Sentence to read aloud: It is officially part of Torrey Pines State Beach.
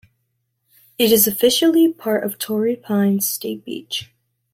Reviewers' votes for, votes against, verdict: 2, 0, accepted